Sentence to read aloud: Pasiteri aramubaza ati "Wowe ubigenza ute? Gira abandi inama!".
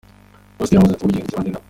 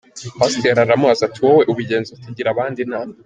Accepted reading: second